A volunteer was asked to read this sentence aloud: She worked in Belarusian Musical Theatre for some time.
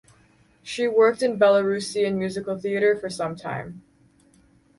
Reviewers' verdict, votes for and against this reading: accepted, 4, 0